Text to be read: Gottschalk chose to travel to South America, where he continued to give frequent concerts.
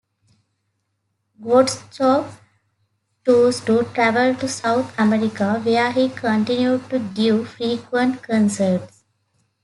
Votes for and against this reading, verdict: 0, 2, rejected